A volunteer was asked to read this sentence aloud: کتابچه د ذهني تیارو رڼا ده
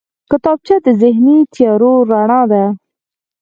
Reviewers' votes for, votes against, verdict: 4, 0, accepted